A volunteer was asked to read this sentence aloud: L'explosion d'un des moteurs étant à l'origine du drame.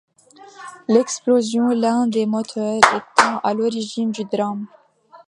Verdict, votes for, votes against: rejected, 1, 2